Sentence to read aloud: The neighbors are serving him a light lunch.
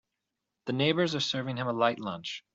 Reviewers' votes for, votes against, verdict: 4, 0, accepted